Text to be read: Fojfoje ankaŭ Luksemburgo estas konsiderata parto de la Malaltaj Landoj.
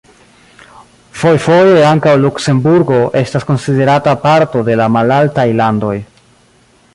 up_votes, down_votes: 2, 0